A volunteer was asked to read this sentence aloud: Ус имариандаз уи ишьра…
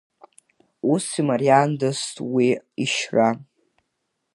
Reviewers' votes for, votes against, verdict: 2, 1, accepted